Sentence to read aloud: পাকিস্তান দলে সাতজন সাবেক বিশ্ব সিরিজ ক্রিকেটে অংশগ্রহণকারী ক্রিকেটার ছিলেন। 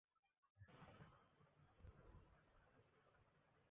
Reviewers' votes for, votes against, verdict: 0, 4, rejected